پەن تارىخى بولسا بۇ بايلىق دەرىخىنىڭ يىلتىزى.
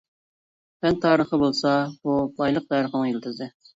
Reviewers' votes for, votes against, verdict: 0, 2, rejected